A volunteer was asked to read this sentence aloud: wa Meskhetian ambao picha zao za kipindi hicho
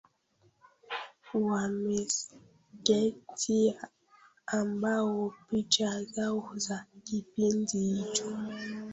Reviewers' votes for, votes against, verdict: 1, 2, rejected